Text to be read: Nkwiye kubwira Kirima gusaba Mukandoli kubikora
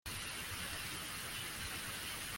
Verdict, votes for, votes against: rejected, 0, 2